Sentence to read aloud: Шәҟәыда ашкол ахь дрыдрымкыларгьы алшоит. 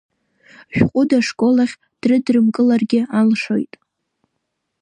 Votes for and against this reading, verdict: 2, 1, accepted